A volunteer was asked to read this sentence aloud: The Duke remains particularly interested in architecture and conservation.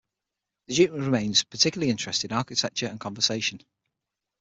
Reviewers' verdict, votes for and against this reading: rejected, 3, 6